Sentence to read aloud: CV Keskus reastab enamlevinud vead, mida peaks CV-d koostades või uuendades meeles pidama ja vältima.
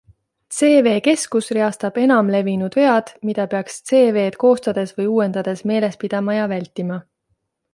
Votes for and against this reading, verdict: 2, 0, accepted